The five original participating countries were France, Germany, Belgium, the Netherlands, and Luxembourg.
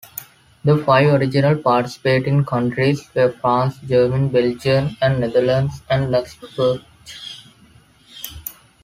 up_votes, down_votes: 2, 1